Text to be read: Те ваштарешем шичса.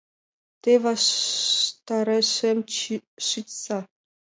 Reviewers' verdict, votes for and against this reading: rejected, 1, 2